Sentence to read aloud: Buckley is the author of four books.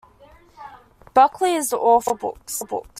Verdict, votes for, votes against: rejected, 1, 2